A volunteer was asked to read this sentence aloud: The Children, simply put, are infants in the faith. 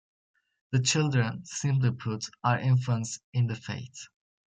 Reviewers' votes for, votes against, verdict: 2, 0, accepted